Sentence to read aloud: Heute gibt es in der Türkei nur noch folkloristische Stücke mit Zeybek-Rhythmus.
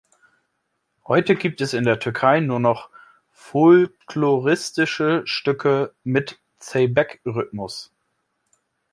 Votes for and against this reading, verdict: 1, 2, rejected